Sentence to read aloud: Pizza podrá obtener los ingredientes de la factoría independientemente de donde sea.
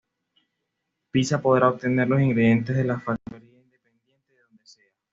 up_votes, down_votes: 2, 1